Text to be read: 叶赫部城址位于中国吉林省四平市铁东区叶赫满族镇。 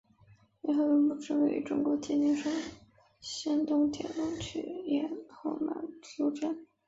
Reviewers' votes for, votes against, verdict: 0, 2, rejected